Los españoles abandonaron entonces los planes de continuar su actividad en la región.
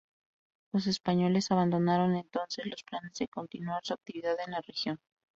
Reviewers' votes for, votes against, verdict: 4, 0, accepted